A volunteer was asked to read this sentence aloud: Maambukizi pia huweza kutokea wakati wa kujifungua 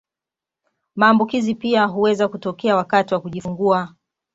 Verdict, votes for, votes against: accepted, 2, 0